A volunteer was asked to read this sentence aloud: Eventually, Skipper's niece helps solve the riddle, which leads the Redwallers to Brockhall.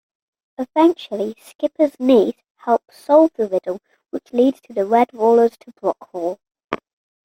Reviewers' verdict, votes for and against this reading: rejected, 0, 2